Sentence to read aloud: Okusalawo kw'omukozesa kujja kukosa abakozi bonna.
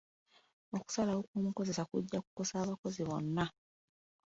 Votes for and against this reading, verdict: 0, 2, rejected